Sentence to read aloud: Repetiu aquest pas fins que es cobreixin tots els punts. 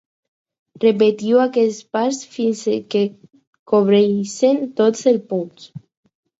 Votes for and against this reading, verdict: 2, 4, rejected